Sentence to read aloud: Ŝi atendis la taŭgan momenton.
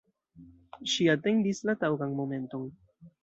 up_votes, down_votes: 2, 0